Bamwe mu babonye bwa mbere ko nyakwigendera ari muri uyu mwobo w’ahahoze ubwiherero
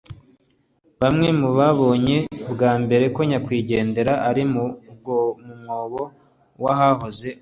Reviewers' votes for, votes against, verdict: 1, 2, rejected